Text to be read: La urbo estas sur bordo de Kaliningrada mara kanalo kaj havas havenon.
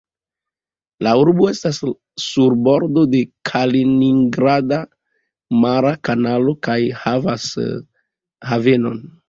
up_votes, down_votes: 2, 0